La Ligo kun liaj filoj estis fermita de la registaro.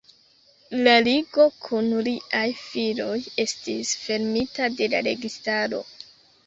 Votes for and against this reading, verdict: 3, 0, accepted